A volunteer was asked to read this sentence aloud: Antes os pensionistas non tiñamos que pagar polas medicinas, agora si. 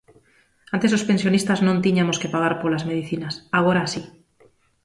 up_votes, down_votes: 0, 2